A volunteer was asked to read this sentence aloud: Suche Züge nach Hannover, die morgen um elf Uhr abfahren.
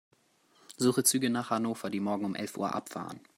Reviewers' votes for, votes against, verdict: 2, 0, accepted